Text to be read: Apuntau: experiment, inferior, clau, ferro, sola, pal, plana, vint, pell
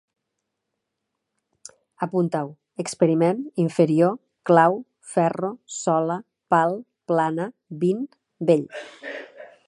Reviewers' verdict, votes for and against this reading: rejected, 0, 2